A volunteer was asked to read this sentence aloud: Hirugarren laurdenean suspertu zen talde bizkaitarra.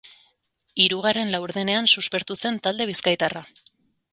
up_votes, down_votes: 2, 0